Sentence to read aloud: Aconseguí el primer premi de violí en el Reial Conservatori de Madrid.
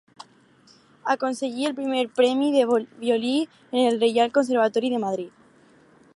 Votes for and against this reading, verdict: 4, 0, accepted